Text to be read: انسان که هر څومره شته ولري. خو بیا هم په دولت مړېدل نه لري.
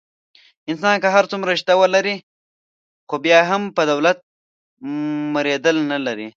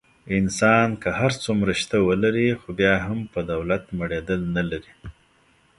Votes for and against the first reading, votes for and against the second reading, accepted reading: 0, 2, 2, 0, second